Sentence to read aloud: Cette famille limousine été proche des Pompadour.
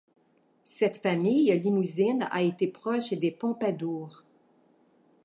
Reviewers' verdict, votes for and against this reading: rejected, 0, 2